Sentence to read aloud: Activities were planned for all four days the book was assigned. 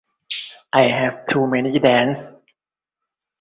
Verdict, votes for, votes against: rejected, 0, 2